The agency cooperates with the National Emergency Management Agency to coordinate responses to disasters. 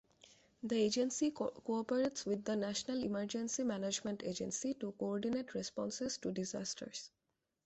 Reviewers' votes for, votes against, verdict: 1, 2, rejected